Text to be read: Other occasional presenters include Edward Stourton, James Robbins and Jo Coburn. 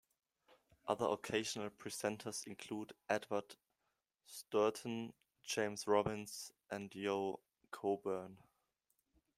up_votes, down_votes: 0, 2